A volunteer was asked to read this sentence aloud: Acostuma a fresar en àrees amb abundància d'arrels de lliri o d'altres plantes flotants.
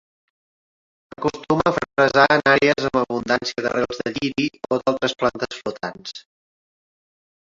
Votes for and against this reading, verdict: 1, 2, rejected